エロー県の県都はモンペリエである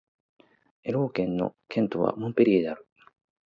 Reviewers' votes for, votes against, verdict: 2, 0, accepted